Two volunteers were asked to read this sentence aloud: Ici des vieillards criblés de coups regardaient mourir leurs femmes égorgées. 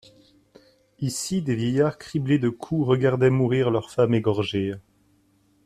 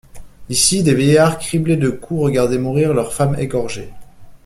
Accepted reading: first